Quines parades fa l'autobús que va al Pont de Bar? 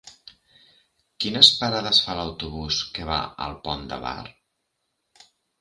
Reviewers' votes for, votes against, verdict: 3, 0, accepted